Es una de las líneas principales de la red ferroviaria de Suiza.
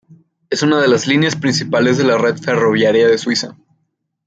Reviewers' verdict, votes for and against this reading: rejected, 1, 2